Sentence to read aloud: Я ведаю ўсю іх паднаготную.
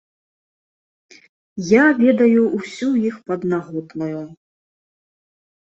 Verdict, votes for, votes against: accepted, 2, 0